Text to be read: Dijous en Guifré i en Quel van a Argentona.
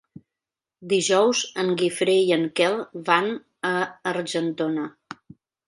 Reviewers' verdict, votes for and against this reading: accepted, 2, 0